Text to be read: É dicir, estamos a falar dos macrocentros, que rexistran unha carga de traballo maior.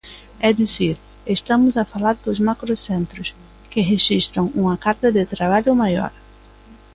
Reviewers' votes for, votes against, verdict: 2, 1, accepted